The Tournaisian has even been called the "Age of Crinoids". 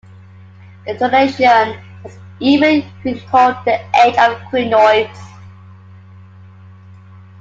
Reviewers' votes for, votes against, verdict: 0, 2, rejected